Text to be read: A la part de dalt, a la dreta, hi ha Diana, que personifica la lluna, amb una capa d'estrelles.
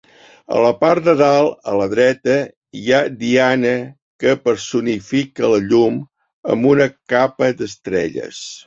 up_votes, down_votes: 0, 2